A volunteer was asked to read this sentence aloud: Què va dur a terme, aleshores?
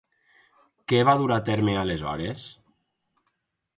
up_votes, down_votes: 4, 0